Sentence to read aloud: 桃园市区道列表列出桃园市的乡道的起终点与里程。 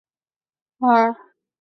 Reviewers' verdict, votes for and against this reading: rejected, 0, 6